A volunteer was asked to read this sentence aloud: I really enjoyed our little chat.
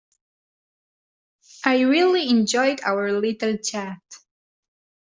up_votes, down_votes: 2, 0